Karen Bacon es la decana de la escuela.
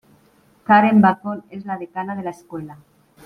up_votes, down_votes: 0, 2